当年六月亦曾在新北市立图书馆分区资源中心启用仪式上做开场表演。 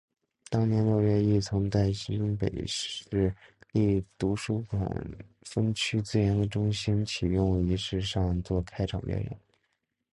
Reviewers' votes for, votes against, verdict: 2, 0, accepted